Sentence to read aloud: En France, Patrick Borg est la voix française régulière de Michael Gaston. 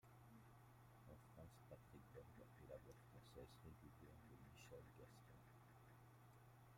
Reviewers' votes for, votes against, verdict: 2, 1, accepted